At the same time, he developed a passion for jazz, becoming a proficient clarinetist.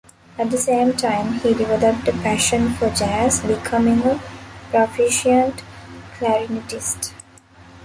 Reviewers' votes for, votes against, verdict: 2, 0, accepted